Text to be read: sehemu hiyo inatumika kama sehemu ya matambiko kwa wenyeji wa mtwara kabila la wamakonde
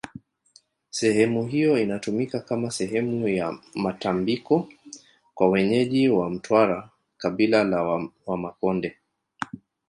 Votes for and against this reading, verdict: 1, 2, rejected